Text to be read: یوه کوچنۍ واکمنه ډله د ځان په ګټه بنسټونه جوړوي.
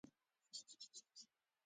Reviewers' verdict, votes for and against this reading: rejected, 1, 2